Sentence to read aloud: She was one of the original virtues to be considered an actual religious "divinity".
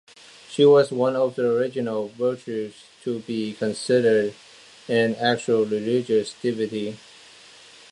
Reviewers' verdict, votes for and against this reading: accepted, 2, 1